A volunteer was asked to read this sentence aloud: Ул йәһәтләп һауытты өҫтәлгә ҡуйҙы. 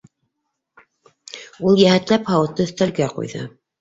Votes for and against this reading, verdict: 2, 0, accepted